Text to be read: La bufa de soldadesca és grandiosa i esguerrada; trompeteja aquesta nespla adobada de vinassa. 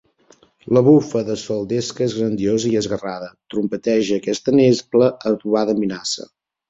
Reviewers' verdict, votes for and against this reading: rejected, 1, 2